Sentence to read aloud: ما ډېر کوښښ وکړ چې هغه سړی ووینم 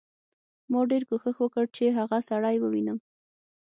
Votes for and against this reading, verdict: 6, 0, accepted